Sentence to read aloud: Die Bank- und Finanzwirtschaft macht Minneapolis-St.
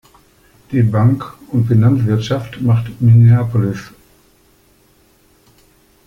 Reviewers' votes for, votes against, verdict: 0, 2, rejected